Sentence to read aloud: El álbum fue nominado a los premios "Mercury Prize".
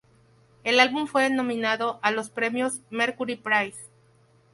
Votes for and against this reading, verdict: 2, 0, accepted